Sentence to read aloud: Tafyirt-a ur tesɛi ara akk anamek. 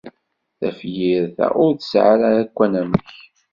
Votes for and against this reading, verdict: 2, 0, accepted